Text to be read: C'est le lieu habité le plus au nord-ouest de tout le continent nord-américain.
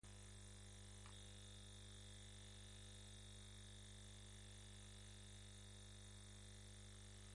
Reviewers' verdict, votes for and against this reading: rejected, 0, 2